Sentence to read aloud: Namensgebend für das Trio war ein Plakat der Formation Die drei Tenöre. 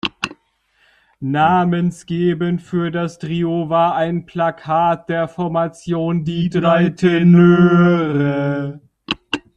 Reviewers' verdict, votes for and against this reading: accepted, 2, 1